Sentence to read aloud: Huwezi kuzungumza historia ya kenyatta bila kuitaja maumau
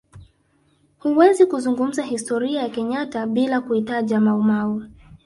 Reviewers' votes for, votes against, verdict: 1, 2, rejected